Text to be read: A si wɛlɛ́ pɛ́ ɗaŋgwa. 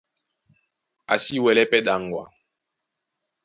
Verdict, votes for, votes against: accepted, 2, 0